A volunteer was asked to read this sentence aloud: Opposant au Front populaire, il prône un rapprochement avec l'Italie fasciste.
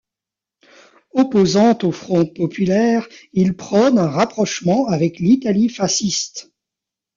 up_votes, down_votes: 1, 2